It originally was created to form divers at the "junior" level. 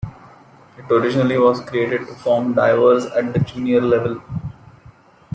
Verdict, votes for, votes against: rejected, 1, 2